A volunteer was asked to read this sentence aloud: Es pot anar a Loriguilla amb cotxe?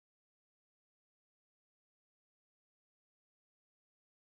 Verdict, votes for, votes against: rejected, 1, 2